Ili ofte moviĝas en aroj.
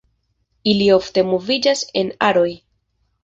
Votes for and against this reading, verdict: 2, 0, accepted